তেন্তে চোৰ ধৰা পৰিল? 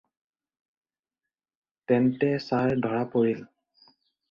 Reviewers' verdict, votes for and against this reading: rejected, 0, 4